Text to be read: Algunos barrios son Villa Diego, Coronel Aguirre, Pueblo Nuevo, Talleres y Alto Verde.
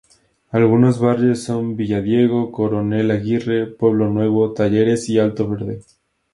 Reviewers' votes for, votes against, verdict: 2, 0, accepted